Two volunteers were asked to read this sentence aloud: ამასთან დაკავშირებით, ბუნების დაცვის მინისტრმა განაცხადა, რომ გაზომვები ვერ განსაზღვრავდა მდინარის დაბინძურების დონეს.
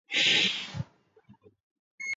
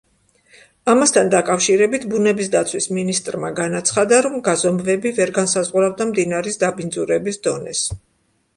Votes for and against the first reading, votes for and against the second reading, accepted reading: 0, 2, 2, 0, second